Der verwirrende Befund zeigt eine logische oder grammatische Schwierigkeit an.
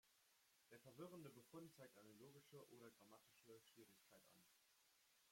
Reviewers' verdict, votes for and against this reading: rejected, 0, 2